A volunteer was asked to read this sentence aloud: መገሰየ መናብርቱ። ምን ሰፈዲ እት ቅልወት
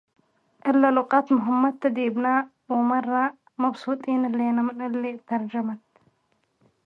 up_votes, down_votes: 0, 2